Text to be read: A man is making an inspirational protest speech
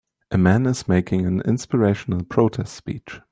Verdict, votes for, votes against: accepted, 2, 0